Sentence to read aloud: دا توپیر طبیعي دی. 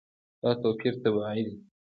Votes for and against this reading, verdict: 2, 0, accepted